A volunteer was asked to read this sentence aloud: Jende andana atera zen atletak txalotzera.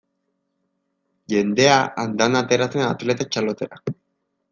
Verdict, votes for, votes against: rejected, 0, 2